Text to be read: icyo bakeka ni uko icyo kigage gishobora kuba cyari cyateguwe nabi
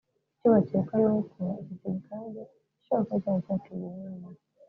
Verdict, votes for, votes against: rejected, 0, 2